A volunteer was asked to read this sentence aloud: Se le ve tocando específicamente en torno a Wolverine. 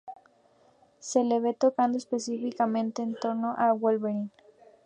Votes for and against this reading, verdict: 0, 2, rejected